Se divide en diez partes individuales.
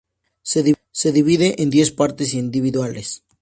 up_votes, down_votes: 0, 2